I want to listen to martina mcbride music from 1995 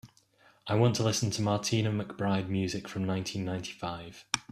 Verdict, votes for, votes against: rejected, 0, 2